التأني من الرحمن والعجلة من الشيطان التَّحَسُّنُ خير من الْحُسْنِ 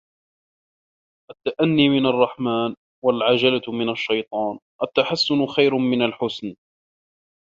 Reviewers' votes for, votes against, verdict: 0, 2, rejected